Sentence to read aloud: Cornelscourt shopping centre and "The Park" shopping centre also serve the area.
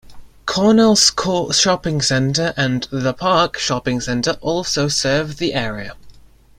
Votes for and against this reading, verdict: 2, 0, accepted